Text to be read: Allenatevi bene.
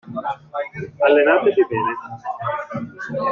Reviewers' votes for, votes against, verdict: 0, 2, rejected